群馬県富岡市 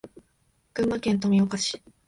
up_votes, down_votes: 3, 0